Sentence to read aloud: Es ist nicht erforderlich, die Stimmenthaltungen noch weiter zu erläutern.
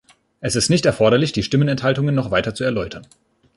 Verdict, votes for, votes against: rejected, 0, 2